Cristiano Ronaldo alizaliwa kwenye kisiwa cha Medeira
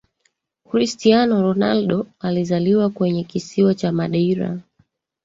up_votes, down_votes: 0, 2